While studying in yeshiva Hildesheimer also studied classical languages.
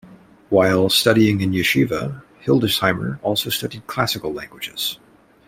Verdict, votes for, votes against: accepted, 2, 0